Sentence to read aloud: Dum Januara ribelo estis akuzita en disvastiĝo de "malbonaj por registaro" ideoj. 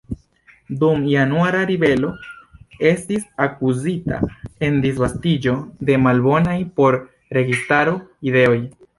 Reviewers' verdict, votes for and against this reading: rejected, 1, 2